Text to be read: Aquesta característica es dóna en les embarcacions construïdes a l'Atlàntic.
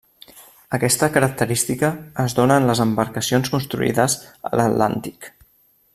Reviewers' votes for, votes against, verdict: 3, 0, accepted